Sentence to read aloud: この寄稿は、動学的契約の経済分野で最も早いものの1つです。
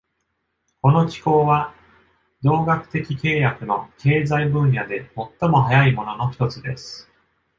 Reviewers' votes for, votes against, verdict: 0, 2, rejected